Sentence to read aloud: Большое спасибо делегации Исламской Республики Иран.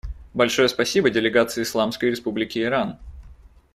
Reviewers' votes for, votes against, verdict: 2, 0, accepted